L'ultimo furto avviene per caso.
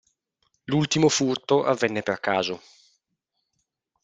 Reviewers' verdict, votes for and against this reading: rejected, 1, 2